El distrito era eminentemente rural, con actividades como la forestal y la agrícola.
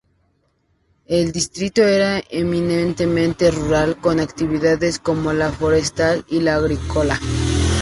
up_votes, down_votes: 2, 0